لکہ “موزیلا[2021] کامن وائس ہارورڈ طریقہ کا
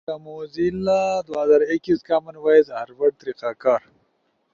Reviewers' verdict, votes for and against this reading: rejected, 0, 2